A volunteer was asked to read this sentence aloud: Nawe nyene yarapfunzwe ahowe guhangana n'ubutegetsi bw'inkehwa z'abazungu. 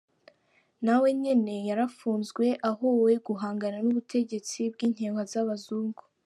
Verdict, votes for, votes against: accepted, 3, 0